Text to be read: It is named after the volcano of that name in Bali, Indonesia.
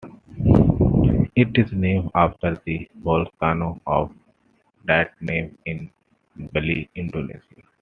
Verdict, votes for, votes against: rejected, 0, 2